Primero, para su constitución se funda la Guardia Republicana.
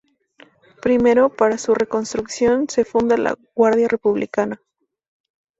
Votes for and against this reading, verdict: 0, 2, rejected